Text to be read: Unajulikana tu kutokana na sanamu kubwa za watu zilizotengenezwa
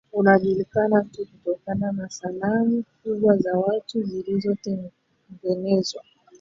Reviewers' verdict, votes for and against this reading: rejected, 1, 2